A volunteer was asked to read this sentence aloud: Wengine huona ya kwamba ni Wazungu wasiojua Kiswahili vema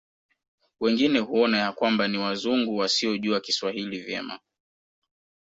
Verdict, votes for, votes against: rejected, 2, 3